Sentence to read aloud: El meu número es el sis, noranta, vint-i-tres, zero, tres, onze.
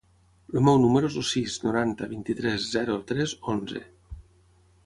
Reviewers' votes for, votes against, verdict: 6, 0, accepted